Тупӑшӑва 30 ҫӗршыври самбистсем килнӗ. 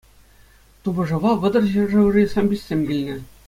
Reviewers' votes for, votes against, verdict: 0, 2, rejected